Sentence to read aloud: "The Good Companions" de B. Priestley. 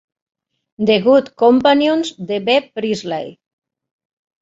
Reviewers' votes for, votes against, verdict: 0, 2, rejected